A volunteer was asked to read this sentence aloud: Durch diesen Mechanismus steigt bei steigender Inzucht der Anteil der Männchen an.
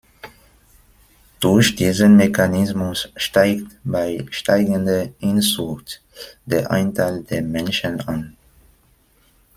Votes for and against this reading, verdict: 0, 2, rejected